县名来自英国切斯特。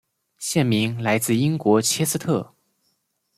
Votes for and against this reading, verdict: 2, 0, accepted